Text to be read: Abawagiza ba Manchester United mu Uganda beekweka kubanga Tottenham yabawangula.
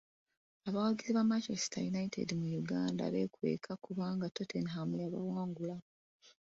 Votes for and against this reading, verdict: 2, 0, accepted